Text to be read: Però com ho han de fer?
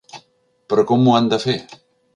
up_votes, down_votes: 3, 0